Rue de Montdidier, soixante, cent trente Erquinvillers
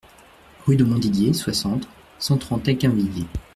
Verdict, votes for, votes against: rejected, 0, 2